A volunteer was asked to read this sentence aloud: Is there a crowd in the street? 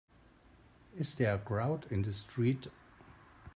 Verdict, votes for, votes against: accepted, 2, 0